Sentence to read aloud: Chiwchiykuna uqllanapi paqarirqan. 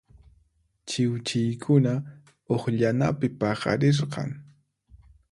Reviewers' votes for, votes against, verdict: 4, 0, accepted